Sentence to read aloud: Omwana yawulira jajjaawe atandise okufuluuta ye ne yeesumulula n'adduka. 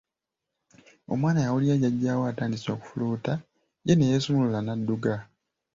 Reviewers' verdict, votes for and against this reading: accepted, 2, 1